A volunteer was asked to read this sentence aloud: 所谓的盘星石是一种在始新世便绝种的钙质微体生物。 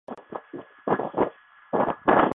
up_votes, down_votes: 0, 5